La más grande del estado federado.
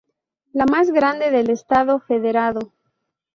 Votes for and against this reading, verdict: 0, 2, rejected